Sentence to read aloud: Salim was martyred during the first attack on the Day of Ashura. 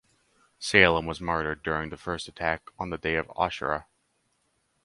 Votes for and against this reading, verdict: 2, 2, rejected